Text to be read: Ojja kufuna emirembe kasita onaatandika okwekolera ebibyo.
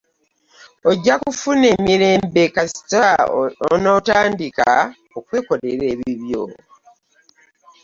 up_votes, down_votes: 2, 0